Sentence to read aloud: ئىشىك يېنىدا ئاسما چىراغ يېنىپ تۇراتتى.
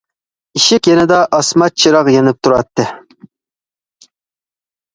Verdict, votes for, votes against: accepted, 2, 0